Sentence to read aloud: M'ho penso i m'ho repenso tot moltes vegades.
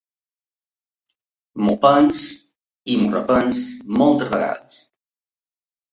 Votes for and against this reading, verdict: 0, 2, rejected